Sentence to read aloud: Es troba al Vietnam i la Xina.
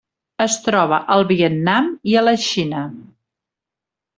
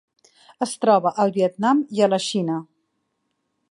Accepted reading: second